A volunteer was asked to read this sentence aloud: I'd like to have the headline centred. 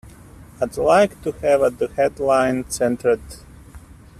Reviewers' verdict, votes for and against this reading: rejected, 1, 2